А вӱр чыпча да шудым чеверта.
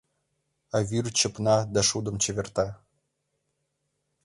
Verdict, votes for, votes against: rejected, 0, 2